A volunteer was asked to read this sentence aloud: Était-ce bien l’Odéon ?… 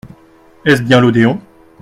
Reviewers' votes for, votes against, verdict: 1, 2, rejected